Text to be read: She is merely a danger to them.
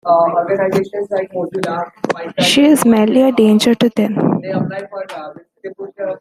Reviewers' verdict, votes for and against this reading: rejected, 0, 2